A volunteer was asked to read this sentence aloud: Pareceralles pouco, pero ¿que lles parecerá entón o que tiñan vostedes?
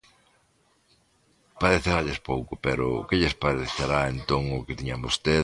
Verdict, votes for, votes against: rejected, 0, 2